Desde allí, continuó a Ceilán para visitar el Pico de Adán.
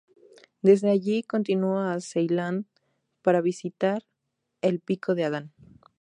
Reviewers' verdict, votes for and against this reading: accepted, 2, 0